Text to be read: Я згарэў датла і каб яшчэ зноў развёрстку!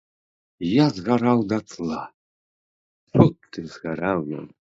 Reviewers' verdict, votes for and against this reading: rejected, 0, 2